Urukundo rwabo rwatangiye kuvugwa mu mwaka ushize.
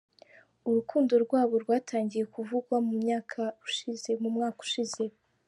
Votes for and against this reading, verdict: 1, 2, rejected